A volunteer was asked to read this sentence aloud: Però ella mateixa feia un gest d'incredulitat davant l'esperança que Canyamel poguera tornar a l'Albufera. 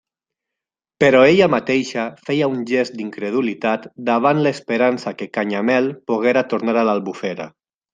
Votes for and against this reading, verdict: 2, 0, accepted